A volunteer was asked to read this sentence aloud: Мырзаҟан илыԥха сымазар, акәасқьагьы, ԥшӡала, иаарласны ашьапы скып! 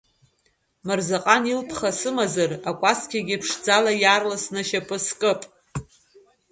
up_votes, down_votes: 1, 2